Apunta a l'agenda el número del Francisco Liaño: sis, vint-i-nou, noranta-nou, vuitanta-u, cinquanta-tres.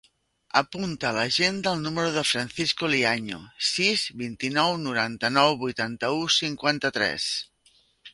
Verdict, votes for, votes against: accepted, 2, 1